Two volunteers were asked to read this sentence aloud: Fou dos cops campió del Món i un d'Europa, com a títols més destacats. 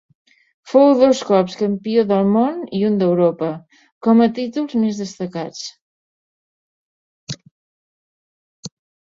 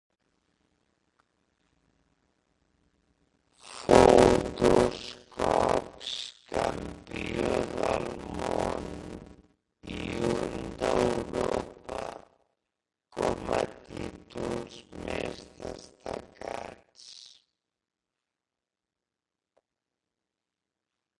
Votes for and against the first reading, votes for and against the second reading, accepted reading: 3, 0, 0, 4, first